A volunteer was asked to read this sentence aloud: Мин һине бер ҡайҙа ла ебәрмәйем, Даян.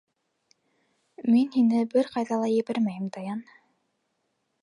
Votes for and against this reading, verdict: 2, 0, accepted